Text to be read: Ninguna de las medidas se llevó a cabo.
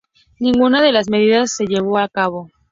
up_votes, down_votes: 2, 0